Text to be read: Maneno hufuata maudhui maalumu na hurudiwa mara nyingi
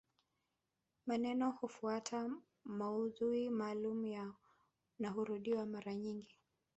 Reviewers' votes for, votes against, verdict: 2, 1, accepted